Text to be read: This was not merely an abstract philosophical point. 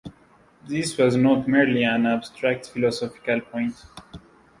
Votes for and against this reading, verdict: 2, 0, accepted